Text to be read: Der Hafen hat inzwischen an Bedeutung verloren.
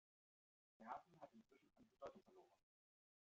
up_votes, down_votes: 0, 2